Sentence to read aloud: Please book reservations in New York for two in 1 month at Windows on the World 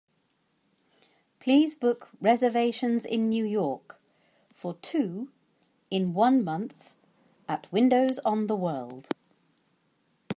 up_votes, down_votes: 0, 2